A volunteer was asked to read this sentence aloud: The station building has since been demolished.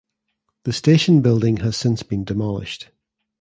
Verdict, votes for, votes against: accepted, 2, 0